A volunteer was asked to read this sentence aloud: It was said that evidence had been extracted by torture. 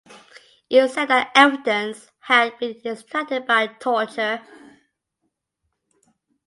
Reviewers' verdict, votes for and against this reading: accepted, 2, 1